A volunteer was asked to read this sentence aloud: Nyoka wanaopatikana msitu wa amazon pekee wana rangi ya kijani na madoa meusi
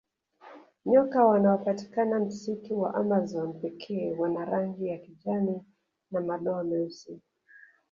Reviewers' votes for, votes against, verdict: 2, 0, accepted